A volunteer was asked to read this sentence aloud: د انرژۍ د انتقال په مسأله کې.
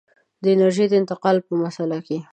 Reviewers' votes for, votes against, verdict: 2, 0, accepted